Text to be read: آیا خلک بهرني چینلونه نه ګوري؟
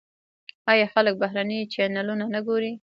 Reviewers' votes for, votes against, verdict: 2, 1, accepted